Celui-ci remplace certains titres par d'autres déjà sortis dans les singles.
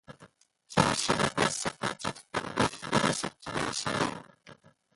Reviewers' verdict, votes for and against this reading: rejected, 0, 2